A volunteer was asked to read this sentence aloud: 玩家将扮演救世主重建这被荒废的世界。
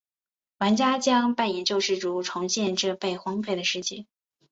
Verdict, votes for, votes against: accepted, 4, 0